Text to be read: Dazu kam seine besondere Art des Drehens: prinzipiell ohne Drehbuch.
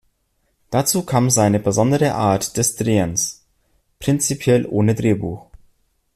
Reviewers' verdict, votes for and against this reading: accepted, 2, 0